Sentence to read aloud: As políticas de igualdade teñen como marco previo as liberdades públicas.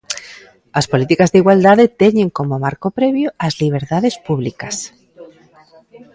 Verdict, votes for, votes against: rejected, 0, 2